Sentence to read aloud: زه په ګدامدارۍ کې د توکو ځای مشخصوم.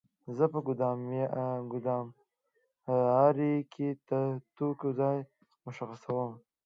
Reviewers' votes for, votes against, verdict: 1, 2, rejected